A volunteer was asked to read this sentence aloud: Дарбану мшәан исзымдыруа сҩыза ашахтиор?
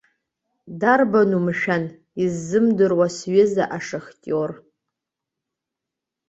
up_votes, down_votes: 2, 0